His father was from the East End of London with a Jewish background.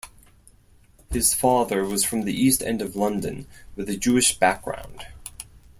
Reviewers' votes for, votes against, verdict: 4, 0, accepted